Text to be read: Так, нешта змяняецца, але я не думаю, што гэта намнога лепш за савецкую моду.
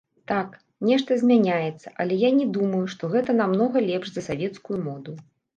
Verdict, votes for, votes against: rejected, 0, 2